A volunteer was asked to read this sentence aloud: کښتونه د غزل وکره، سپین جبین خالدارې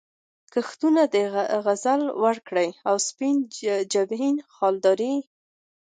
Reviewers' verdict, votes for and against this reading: accepted, 2, 1